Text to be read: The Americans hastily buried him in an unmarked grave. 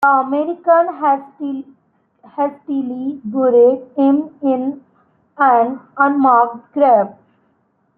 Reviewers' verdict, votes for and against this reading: rejected, 0, 2